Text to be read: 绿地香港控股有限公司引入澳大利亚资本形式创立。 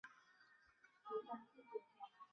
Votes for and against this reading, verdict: 1, 3, rejected